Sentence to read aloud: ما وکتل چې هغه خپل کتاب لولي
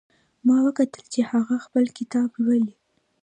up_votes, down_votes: 2, 0